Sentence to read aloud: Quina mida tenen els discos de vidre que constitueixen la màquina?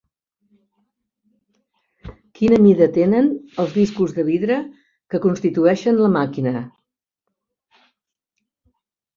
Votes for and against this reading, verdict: 1, 2, rejected